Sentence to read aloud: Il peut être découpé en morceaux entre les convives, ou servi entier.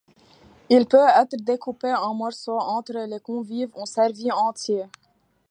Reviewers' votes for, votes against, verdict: 2, 1, accepted